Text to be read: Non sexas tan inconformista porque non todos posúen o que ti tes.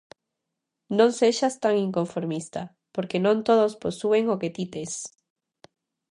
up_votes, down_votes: 2, 0